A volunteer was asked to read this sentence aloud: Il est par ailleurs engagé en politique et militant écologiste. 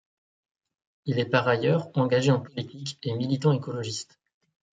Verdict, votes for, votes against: accepted, 2, 1